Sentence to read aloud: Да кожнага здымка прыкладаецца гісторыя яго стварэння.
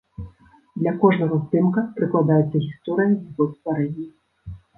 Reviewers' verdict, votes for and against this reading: rejected, 0, 2